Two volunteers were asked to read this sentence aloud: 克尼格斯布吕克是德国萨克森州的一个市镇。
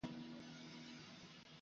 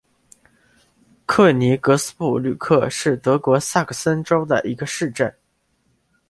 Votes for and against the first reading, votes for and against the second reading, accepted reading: 0, 2, 4, 0, second